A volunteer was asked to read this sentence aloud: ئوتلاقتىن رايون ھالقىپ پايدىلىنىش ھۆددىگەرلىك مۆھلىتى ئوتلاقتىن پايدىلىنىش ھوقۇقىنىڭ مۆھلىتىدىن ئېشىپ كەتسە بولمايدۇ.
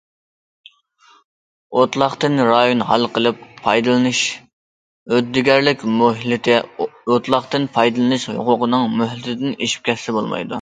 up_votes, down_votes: 2, 1